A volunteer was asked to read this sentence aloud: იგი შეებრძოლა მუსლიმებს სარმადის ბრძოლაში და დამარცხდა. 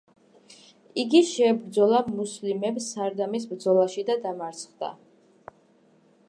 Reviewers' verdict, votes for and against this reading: rejected, 0, 2